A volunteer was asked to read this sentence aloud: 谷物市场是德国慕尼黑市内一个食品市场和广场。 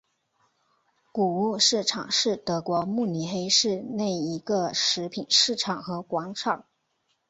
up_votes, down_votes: 2, 0